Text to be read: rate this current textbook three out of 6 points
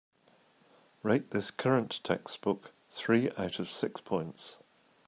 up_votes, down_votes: 0, 2